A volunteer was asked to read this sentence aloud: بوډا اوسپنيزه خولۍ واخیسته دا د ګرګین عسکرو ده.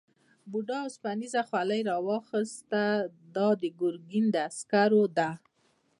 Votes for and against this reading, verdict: 2, 0, accepted